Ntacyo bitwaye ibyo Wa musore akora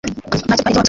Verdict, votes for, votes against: rejected, 1, 3